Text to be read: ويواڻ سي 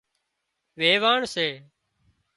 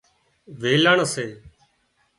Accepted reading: first